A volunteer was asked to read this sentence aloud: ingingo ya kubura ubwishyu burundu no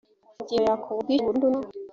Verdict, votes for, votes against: rejected, 0, 2